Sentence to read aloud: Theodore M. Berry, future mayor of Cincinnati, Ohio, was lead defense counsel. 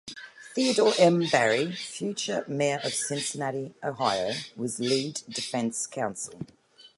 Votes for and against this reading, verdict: 2, 0, accepted